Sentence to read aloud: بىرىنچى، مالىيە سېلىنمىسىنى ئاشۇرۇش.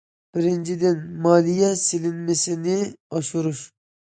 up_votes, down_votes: 1, 2